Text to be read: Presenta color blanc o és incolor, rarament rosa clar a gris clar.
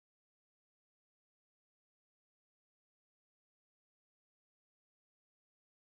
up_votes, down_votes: 0, 2